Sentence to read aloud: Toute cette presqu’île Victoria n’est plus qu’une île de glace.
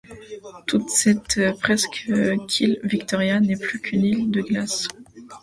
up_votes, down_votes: 0, 2